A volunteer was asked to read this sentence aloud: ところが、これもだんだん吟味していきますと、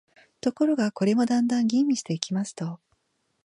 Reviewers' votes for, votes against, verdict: 3, 0, accepted